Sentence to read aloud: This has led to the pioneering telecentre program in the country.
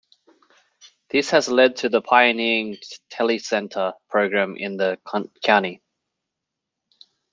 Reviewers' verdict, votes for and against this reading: rejected, 1, 2